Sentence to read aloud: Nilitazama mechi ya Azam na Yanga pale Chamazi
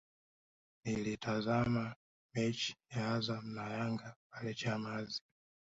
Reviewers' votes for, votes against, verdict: 1, 2, rejected